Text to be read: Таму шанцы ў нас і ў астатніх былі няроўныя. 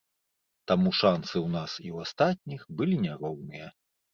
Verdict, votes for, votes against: accepted, 2, 0